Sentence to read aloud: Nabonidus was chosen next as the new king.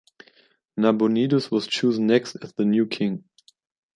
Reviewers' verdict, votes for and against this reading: accepted, 3, 0